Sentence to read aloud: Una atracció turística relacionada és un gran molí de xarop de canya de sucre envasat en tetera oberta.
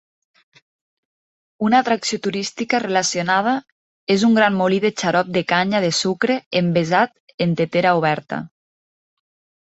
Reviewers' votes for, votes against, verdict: 1, 3, rejected